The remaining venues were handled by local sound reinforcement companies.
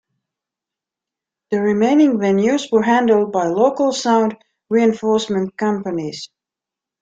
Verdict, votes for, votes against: accepted, 2, 0